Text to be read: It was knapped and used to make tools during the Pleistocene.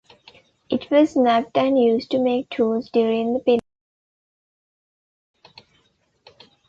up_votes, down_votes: 1, 2